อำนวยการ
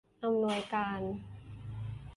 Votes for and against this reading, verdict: 2, 0, accepted